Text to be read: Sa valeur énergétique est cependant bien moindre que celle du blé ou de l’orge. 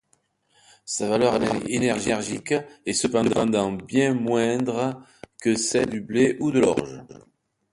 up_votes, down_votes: 1, 2